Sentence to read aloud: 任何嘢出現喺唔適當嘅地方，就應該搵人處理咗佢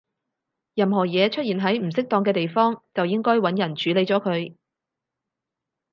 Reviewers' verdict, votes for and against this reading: accepted, 4, 0